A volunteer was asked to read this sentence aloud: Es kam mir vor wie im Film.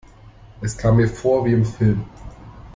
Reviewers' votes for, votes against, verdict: 2, 0, accepted